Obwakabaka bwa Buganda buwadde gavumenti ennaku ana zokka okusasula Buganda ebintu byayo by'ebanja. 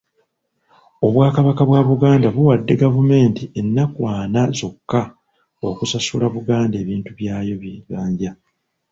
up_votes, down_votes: 2, 1